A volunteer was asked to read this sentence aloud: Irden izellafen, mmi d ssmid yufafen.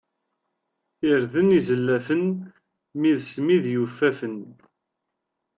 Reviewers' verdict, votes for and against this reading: rejected, 0, 2